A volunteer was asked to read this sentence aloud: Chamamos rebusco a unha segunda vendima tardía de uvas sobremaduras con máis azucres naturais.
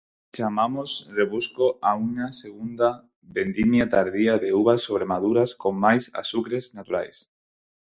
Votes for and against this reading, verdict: 2, 4, rejected